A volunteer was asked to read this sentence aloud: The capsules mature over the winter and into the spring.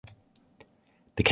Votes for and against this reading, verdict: 0, 2, rejected